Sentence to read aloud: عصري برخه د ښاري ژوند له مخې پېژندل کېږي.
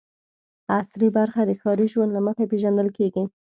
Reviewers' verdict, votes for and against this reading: accepted, 2, 0